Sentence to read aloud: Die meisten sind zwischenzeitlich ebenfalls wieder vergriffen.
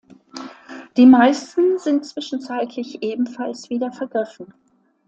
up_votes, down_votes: 2, 0